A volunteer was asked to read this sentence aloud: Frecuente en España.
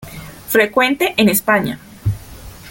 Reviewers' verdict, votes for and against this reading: accepted, 2, 0